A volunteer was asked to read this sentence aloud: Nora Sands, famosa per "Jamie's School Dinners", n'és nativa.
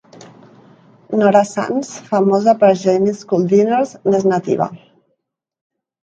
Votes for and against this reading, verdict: 2, 0, accepted